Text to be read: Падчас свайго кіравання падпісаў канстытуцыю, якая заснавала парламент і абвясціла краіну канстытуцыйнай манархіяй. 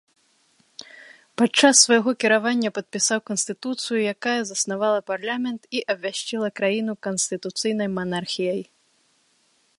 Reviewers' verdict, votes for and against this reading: rejected, 2, 3